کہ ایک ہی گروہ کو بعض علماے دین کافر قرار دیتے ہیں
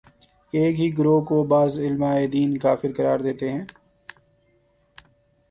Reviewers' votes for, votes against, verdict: 2, 0, accepted